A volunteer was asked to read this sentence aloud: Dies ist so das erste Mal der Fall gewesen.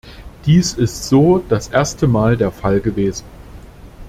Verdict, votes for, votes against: accepted, 2, 0